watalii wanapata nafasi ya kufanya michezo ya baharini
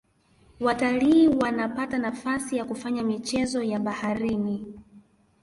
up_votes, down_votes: 2, 0